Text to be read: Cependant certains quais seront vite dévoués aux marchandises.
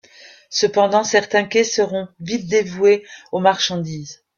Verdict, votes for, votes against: accepted, 2, 1